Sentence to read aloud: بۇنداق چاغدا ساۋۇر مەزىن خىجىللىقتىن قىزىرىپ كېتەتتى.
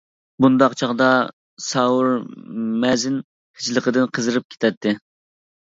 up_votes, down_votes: 0, 2